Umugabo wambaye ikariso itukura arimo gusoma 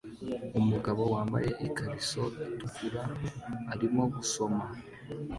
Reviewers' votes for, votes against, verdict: 2, 1, accepted